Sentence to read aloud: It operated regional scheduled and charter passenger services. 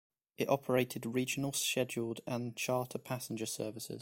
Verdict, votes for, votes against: rejected, 1, 2